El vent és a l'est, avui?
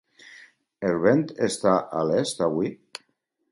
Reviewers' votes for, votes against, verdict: 2, 4, rejected